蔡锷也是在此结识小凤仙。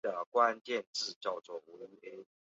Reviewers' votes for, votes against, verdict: 0, 2, rejected